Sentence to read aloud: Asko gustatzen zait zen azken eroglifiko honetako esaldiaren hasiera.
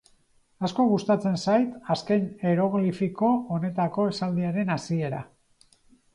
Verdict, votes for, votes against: rejected, 0, 4